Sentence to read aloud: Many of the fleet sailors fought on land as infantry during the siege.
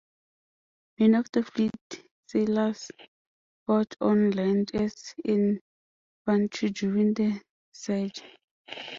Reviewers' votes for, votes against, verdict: 1, 2, rejected